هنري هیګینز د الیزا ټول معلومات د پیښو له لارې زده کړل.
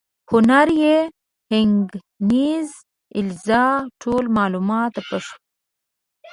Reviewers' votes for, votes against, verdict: 0, 2, rejected